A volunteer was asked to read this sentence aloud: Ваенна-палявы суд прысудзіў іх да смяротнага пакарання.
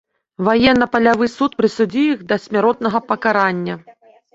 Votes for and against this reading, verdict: 2, 0, accepted